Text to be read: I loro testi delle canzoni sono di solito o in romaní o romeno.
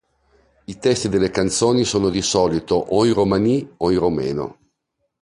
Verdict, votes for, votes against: rejected, 1, 2